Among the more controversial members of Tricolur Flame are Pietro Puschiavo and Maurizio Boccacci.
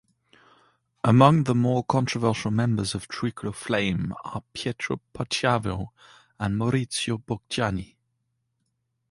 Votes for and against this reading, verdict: 1, 2, rejected